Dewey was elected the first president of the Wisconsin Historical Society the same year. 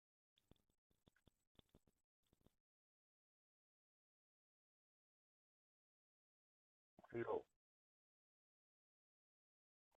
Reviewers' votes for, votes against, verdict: 0, 2, rejected